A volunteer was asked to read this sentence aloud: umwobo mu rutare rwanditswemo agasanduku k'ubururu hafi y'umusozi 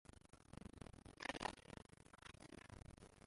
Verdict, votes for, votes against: rejected, 0, 2